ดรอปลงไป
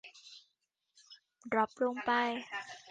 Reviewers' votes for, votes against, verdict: 1, 2, rejected